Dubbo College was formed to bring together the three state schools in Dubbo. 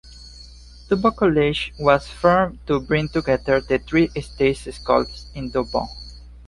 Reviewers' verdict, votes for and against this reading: rejected, 1, 2